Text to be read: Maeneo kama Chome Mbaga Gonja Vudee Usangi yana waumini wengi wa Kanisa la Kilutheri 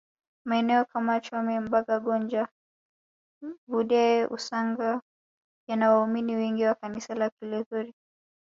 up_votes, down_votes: 1, 2